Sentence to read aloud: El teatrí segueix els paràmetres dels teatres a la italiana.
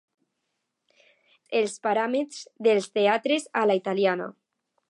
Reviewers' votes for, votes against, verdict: 1, 2, rejected